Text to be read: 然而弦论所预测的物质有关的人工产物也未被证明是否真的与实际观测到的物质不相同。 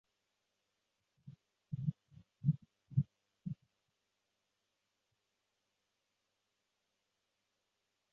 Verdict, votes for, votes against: rejected, 0, 5